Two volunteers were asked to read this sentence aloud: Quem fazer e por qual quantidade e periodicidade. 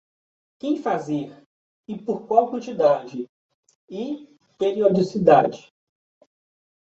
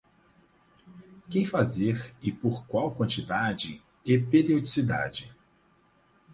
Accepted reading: first